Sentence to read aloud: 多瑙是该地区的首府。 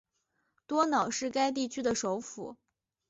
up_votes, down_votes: 2, 0